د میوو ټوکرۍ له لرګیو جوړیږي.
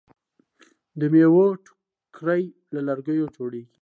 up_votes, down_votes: 2, 0